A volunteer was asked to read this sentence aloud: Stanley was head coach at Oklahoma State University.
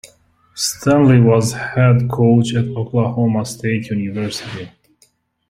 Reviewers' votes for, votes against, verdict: 2, 0, accepted